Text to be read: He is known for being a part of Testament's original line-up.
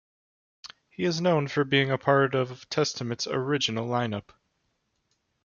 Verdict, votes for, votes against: accepted, 2, 0